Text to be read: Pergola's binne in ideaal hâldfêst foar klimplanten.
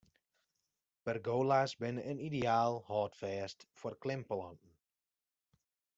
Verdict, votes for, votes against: rejected, 1, 2